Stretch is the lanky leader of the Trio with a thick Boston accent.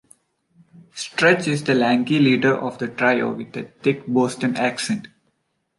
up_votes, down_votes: 3, 1